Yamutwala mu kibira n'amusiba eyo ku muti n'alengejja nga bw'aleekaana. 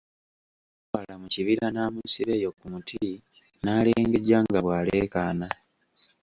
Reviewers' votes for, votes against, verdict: 2, 1, accepted